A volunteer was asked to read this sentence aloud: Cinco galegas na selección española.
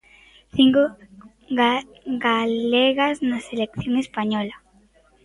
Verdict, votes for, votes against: rejected, 0, 2